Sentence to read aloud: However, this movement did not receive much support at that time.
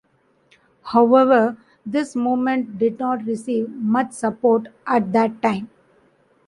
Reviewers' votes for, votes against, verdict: 2, 0, accepted